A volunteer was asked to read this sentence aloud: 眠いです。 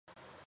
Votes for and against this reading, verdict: 6, 16, rejected